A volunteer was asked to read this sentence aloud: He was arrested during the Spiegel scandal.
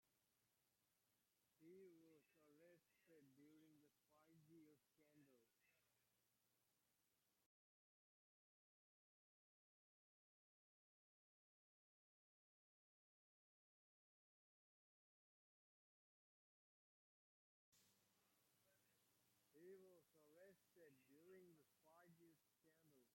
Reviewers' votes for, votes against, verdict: 0, 2, rejected